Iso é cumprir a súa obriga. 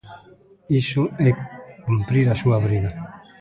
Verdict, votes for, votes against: rejected, 0, 2